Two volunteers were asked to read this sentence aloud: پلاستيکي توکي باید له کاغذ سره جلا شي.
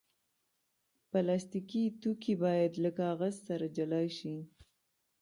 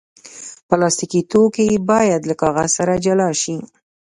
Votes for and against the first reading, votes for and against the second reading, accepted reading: 2, 0, 1, 2, first